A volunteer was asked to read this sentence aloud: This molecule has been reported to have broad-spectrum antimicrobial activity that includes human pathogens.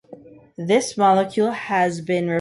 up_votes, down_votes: 2, 0